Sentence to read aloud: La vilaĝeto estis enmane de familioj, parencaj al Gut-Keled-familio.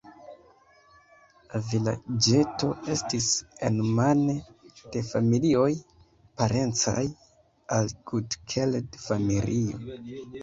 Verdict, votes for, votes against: rejected, 0, 2